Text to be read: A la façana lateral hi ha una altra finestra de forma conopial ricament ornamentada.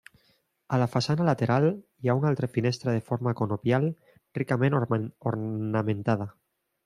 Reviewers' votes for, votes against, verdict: 0, 2, rejected